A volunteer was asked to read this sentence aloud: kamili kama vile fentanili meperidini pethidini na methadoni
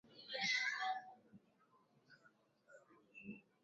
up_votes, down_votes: 0, 3